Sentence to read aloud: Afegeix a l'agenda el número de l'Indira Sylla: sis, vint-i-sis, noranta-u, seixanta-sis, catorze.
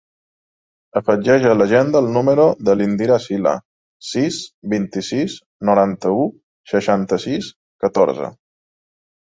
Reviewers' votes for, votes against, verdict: 4, 0, accepted